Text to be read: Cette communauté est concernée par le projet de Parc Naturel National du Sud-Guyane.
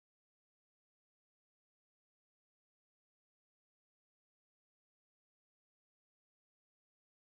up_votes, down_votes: 0, 2